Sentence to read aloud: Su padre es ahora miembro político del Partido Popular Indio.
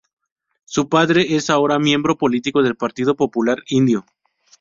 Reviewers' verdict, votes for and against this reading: rejected, 0, 2